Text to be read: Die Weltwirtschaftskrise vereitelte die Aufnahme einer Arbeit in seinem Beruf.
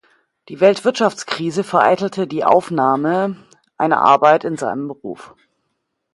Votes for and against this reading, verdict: 2, 0, accepted